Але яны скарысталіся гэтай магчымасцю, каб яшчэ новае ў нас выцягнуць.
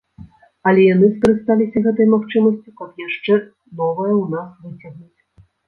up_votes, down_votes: 1, 2